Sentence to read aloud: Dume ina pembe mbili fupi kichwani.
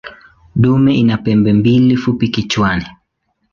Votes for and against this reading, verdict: 2, 0, accepted